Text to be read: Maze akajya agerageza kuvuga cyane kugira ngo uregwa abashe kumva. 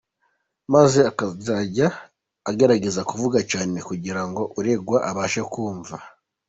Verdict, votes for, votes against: accepted, 2, 0